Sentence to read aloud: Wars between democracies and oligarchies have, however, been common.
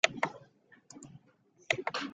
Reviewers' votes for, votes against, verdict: 0, 2, rejected